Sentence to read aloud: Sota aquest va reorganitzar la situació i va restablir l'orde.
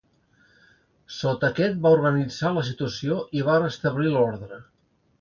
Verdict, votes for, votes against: rejected, 1, 2